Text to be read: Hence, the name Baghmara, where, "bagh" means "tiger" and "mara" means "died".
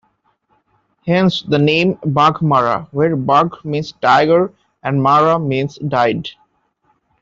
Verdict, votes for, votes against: accepted, 2, 0